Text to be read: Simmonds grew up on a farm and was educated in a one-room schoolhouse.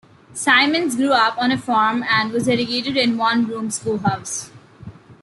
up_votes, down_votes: 0, 2